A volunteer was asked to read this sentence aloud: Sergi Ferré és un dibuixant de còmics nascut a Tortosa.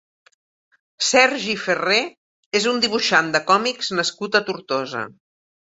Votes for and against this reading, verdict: 2, 0, accepted